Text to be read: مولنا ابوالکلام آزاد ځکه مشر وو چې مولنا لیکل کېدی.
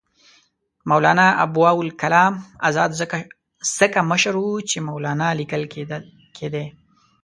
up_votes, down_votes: 0, 2